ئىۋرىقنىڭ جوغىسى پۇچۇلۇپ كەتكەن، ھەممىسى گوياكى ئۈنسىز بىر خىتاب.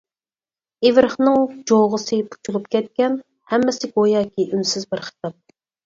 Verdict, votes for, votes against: rejected, 2, 4